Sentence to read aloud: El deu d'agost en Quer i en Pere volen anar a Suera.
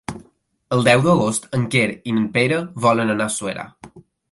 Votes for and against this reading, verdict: 2, 0, accepted